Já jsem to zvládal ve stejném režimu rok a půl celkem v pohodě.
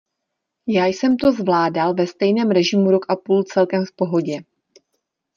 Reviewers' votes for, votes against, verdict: 2, 0, accepted